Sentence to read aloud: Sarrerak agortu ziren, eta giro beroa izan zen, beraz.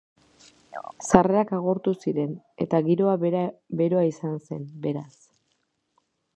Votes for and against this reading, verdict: 0, 2, rejected